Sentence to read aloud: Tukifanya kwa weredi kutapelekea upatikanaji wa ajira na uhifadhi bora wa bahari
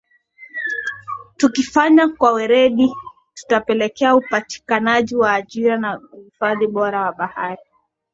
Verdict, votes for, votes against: accepted, 2, 0